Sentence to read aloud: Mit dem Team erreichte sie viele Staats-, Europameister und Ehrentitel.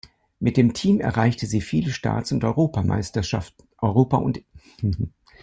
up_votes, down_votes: 0, 2